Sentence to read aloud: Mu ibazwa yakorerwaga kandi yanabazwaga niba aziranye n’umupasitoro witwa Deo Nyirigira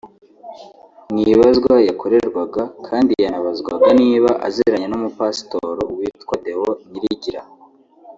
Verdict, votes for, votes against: rejected, 0, 2